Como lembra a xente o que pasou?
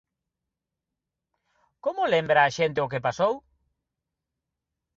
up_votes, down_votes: 1, 2